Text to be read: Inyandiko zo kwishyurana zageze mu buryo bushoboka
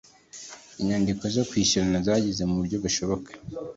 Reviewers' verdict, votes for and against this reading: accepted, 2, 0